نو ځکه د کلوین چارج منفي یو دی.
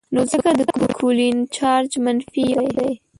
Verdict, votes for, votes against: rejected, 0, 2